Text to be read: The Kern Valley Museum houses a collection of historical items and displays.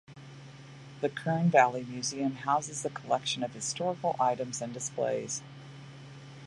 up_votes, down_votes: 2, 0